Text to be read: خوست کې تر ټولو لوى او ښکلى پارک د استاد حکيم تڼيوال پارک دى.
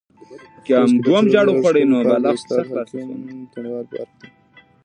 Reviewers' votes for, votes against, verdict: 1, 2, rejected